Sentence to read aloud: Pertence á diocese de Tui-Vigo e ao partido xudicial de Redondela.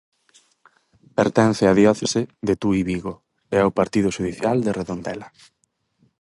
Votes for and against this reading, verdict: 0, 4, rejected